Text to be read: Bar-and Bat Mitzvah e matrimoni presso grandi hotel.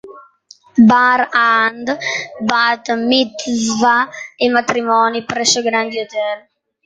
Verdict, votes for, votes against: rejected, 1, 2